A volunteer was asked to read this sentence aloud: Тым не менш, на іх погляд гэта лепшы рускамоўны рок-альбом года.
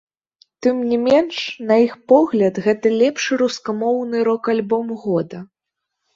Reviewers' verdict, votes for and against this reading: rejected, 1, 3